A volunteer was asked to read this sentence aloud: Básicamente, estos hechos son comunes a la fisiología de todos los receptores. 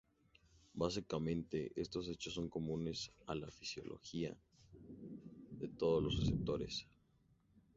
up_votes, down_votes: 2, 0